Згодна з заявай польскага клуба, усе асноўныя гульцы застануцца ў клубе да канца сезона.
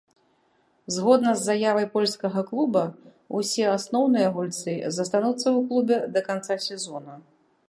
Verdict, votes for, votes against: accepted, 2, 0